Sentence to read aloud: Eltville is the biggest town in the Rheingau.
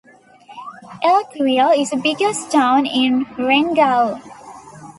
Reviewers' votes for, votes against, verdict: 2, 1, accepted